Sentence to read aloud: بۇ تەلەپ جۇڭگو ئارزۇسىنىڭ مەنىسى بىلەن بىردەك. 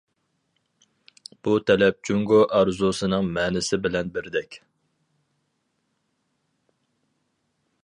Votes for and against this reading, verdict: 4, 0, accepted